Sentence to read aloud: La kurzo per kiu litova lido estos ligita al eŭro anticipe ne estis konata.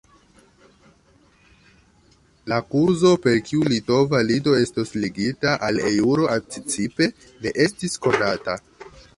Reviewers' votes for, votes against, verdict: 0, 2, rejected